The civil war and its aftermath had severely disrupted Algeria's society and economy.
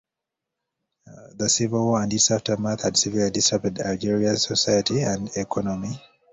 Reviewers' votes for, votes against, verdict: 2, 1, accepted